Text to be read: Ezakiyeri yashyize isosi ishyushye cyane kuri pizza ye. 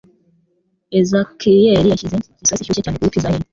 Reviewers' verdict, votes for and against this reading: rejected, 0, 2